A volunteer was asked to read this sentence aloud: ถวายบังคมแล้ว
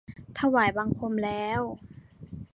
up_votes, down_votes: 2, 0